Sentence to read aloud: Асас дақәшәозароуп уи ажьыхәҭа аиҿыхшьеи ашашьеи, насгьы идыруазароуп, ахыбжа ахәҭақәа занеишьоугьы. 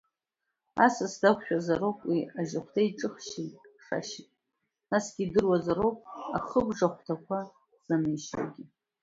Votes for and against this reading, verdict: 0, 2, rejected